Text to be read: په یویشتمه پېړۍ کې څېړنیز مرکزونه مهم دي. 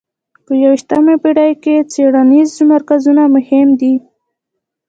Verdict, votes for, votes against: accepted, 2, 0